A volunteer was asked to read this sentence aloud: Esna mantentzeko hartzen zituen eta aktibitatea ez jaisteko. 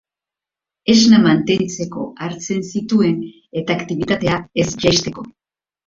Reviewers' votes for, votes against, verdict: 3, 1, accepted